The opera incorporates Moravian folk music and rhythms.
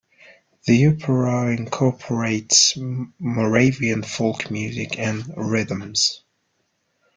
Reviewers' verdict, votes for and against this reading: rejected, 0, 2